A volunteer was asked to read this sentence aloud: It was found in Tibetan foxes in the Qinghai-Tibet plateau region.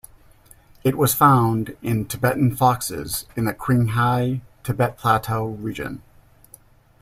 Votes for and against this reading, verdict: 1, 2, rejected